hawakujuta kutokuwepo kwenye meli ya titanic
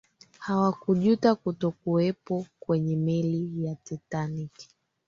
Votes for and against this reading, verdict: 2, 1, accepted